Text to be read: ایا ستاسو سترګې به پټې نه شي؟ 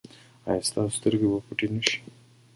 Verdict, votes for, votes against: rejected, 1, 2